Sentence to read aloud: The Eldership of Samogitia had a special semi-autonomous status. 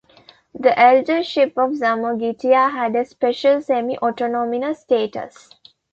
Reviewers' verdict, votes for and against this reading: rejected, 1, 2